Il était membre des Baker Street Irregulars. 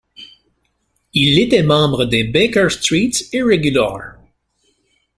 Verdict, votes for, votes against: accepted, 2, 1